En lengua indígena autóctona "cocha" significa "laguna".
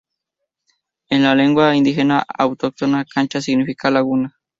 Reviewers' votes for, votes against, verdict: 0, 4, rejected